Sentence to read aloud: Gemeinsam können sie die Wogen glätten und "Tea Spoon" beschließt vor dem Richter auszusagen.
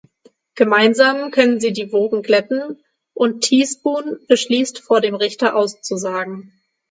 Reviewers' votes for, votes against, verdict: 15, 0, accepted